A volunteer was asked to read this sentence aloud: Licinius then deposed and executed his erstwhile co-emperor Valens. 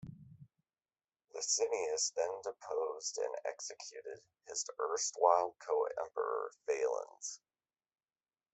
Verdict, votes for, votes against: accepted, 2, 1